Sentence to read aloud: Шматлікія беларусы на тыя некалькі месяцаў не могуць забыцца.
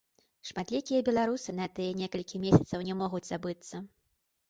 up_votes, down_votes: 2, 0